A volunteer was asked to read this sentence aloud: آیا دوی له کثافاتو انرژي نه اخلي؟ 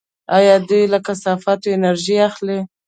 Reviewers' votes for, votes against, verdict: 1, 2, rejected